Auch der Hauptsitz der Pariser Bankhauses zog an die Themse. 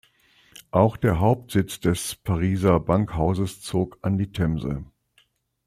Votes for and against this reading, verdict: 2, 1, accepted